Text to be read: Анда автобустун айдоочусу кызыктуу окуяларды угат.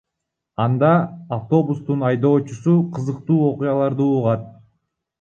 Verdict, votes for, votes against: rejected, 1, 2